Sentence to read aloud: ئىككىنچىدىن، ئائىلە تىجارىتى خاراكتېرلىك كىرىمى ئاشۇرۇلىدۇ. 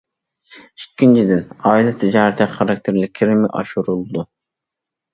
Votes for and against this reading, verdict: 2, 0, accepted